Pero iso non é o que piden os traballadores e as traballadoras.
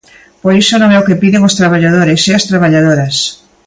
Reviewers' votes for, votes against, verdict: 2, 0, accepted